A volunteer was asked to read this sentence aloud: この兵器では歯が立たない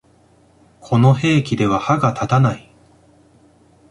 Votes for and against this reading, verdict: 2, 0, accepted